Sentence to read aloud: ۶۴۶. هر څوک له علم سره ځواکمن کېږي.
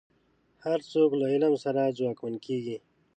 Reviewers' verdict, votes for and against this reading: rejected, 0, 2